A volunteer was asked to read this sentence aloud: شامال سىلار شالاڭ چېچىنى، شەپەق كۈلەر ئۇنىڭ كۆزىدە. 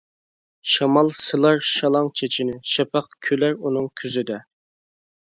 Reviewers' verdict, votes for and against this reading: accepted, 2, 0